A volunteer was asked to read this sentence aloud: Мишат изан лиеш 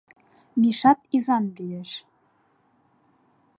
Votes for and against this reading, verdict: 2, 0, accepted